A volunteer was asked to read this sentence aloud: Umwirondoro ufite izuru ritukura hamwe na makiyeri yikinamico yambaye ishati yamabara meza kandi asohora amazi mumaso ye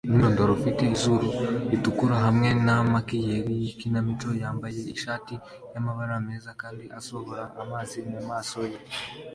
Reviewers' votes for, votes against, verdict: 2, 0, accepted